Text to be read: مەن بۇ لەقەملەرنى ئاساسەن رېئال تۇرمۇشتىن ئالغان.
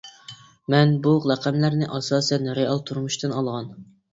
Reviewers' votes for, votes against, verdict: 3, 0, accepted